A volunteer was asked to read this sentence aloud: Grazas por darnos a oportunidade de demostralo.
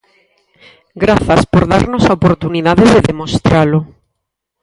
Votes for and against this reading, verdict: 2, 4, rejected